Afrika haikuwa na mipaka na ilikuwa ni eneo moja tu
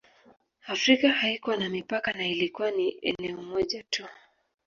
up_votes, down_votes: 0, 2